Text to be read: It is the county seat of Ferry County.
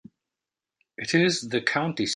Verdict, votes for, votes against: rejected, 0, 2